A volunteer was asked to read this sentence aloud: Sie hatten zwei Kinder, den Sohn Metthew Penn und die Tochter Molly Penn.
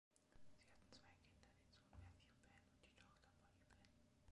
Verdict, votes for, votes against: rejected, 1, 2